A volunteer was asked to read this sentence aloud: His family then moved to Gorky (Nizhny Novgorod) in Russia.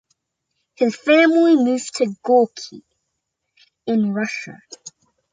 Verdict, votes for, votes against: rejected, 0, 2